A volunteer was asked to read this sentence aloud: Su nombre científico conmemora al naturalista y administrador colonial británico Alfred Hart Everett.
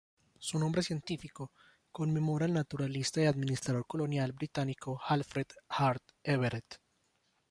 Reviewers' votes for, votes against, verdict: 1, 2, rejected